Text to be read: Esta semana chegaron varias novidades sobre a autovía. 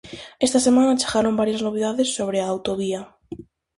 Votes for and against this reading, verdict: 4, 0, accepted